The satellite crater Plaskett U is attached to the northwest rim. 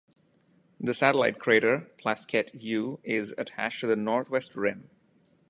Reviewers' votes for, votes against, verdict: 2, 0, accepted